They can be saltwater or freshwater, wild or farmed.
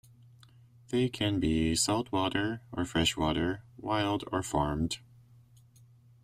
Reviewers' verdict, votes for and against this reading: accepted, 2, 0